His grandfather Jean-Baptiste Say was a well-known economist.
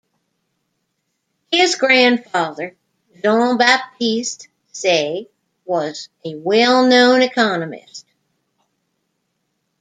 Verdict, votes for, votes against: rejected, 1, 2